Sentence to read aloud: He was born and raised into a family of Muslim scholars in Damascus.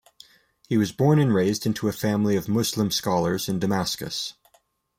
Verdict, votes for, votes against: accepted, 2, 0